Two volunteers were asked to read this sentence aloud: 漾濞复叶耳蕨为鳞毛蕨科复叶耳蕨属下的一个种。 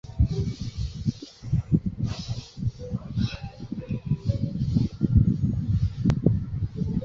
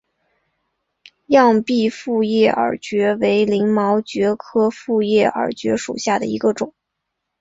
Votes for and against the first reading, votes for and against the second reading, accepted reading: 1, 2, 2, 0, second